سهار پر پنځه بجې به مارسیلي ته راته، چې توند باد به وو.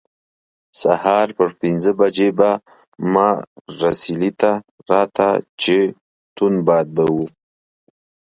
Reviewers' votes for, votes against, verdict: 0, 2, rejected